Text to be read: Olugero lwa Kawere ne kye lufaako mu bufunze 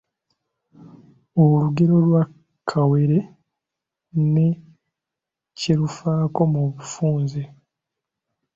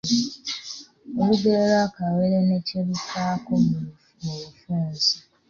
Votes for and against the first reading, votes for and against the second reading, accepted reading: 2, 0, 1, 2, first